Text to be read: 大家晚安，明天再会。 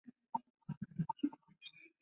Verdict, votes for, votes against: rejected, 0, 3